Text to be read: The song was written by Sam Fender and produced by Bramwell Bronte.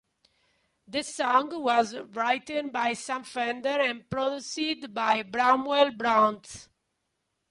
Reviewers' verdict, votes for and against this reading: rejected, 0, 2